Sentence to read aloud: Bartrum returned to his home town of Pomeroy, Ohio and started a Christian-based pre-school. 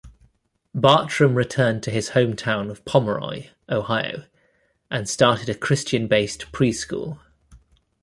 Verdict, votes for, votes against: accepted, 2, 0